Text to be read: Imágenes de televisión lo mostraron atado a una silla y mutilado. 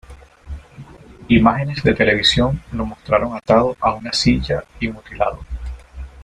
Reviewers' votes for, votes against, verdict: 2, 1, accepted